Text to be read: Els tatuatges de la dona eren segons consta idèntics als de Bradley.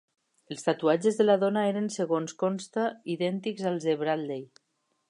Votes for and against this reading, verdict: 7, 0, accepted